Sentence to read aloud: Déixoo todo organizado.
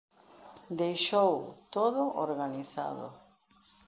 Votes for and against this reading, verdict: 0, 2, rejected